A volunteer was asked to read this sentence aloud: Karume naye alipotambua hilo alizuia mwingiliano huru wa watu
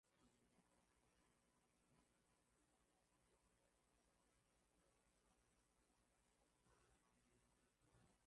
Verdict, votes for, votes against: rejected, 0, 2